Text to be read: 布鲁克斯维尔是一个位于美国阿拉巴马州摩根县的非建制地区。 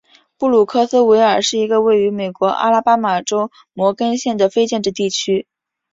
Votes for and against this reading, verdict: 2, 0, accepted